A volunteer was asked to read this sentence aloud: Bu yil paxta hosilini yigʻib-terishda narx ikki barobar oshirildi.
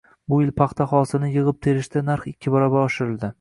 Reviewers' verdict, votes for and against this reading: accepted, 2, 0